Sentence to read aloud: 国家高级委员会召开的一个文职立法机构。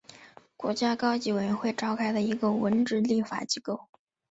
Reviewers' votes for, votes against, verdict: 0, 2, rejected